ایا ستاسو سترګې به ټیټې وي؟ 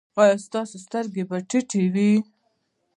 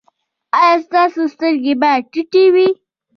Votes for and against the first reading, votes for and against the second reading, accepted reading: 2, 0, 1, 2, first